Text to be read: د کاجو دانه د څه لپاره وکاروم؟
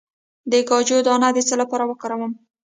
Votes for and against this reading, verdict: 0, 2, rejected